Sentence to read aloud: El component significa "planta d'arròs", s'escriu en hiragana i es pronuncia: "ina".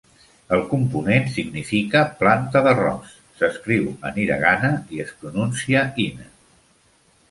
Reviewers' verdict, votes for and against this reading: accepted, 2, 0